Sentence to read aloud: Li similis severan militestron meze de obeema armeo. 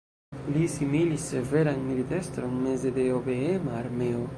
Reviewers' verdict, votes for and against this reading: rejected, 1, 2